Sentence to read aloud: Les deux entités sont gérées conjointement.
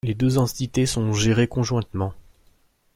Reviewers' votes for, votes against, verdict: 2, 0, accepted